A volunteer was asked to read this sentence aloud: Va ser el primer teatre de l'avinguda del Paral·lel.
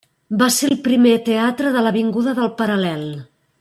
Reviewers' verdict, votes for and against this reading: accepted, 3, 0